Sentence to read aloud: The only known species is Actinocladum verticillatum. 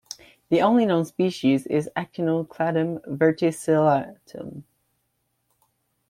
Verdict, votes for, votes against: rejected, 0, 2